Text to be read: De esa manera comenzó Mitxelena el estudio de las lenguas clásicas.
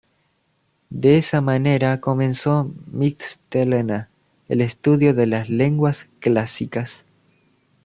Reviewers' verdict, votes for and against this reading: rejected, 0, 2